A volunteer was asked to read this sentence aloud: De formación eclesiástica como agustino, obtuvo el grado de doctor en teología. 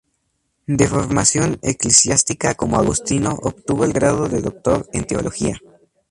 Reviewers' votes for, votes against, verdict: 2, 0, accepted